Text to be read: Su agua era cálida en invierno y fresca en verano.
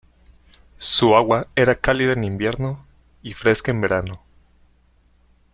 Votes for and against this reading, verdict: 2, 0, accepted